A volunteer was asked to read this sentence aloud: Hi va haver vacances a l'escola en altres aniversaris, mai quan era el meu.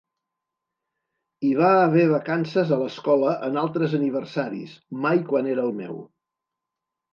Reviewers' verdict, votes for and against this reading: accepted, 2, 0